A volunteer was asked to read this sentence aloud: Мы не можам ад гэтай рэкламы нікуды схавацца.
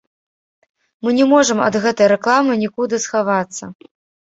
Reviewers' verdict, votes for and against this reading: rejected, 0, 2